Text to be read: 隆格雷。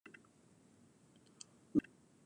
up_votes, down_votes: 0, 2